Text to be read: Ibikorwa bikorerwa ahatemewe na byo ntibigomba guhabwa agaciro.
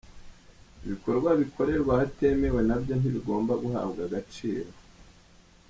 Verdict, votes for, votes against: accepted, 2, 0